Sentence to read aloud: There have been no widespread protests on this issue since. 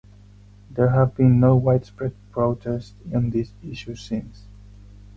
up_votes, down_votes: 0, 4